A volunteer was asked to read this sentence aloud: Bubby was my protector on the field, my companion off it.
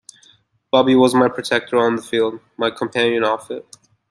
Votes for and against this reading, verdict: 2, 0, accepted